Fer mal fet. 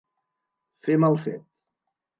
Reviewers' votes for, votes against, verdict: 2, 0, accepted